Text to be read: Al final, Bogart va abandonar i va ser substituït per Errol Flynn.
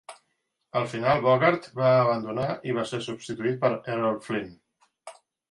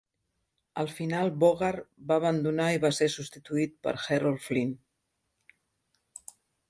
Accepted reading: first